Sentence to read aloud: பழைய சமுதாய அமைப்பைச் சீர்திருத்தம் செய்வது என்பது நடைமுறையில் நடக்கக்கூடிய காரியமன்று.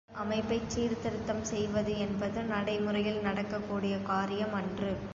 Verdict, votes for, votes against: rejected, 0, 2